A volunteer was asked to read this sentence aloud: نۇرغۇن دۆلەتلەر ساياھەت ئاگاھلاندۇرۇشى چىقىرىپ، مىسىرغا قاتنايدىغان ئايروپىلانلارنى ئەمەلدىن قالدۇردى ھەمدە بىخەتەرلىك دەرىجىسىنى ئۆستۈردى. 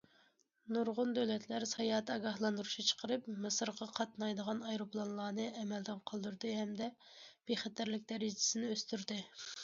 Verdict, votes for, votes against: accepted, 2, 0